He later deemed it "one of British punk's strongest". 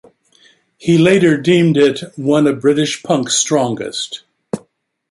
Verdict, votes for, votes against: accepted, 2, 0